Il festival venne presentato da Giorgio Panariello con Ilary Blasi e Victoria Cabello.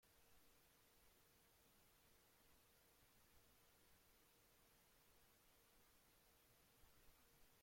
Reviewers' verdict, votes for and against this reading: rejected, 0, 2